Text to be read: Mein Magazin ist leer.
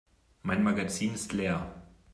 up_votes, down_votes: 2, 0